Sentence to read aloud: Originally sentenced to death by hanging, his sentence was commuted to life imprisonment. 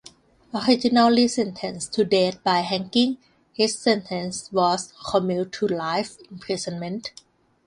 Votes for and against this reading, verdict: 1, 2, rejected